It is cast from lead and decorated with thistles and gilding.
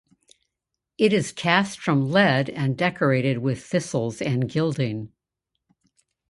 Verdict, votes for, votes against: accepted, 2, 0